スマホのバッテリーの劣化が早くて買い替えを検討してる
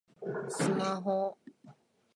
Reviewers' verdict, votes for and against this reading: rejected, 0, 2